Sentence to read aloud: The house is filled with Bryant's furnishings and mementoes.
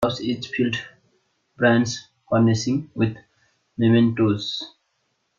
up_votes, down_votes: 0, 2